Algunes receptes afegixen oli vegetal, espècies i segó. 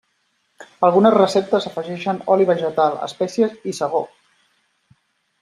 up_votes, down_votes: 2, 0